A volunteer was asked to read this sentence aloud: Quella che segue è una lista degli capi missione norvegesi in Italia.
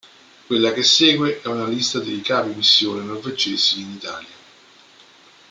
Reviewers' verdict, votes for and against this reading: accepted, 2, 1